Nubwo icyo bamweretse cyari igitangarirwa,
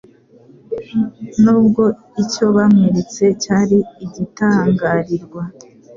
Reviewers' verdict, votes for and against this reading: accepted, 3, 0